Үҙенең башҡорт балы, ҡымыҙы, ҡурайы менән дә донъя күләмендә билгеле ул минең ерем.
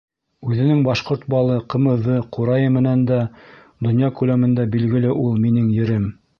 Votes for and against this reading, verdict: 2, 0, accepted